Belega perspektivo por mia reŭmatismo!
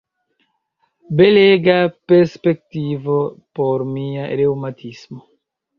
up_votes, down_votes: 1, 2